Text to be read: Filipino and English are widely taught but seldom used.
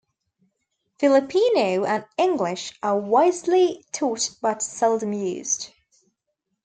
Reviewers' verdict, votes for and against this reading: rejected, 1, 2